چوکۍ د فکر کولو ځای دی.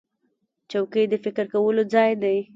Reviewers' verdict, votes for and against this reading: rejected, 1, 2